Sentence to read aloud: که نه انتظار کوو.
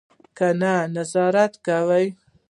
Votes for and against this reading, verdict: 1, 2, rejected